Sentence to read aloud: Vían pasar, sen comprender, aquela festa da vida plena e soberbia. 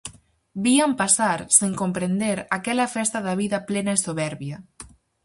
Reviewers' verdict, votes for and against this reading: accepted, 4, 0